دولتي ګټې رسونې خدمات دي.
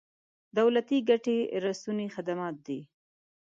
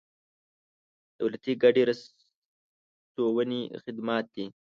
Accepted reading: first